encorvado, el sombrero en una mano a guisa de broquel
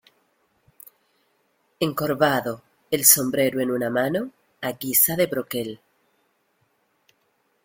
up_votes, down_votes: 2, 1